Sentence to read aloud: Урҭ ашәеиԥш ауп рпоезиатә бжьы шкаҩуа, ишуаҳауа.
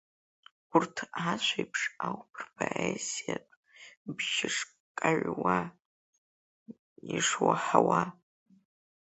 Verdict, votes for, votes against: accepted, 2, 0